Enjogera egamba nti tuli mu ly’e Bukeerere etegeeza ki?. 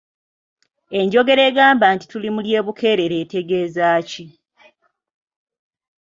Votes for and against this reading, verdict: 0, 2, rejected